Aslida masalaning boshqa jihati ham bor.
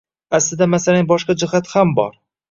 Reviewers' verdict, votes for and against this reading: accepted, 2, 0